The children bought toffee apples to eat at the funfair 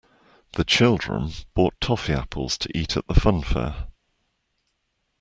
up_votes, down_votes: 2, 0